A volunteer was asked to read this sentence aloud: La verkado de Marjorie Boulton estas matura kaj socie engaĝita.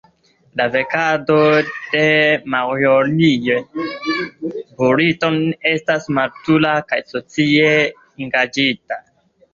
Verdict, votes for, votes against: rejected, 2, 3